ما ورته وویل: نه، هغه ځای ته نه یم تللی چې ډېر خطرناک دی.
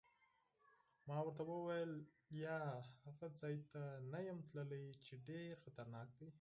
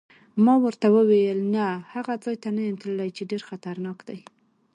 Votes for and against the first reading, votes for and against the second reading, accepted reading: 2, 4, 2, 0, second